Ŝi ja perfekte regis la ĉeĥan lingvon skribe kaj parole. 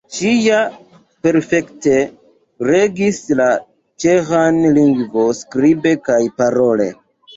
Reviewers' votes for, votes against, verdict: 1, 2, rejected